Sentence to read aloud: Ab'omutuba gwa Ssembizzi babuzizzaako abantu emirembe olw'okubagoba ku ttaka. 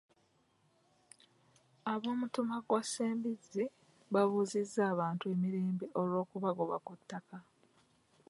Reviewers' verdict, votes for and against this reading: rejected, 1, 2